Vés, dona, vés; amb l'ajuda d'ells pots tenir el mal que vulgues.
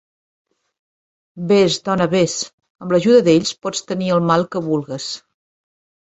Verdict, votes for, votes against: accepted, 3, 0